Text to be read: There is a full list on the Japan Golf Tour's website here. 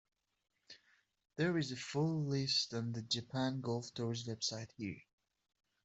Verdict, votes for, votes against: accepted, 2, 0